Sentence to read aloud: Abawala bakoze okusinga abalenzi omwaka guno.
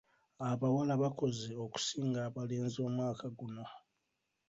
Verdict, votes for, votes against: rejected, 1, 2